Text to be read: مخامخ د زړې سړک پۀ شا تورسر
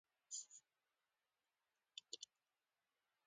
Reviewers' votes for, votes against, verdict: 2, 0, accepted